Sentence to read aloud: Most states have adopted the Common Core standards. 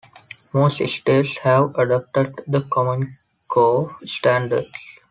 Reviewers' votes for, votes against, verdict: 2, 0, accepted